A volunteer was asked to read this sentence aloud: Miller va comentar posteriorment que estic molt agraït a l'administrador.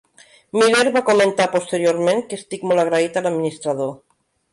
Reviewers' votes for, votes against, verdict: 0, 2, rejected